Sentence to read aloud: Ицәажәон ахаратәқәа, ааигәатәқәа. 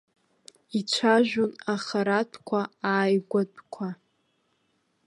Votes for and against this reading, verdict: 2, 0, accepted